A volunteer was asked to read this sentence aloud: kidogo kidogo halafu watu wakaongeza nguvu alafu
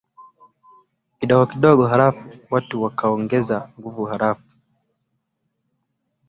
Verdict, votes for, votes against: rejected, 0, 2